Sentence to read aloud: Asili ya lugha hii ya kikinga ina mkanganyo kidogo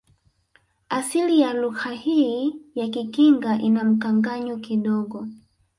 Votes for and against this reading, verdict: 1, 2, rejected